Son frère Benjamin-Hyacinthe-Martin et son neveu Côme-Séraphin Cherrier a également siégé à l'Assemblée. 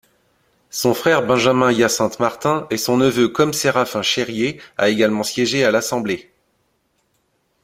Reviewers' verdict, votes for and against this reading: accepted, 2, 0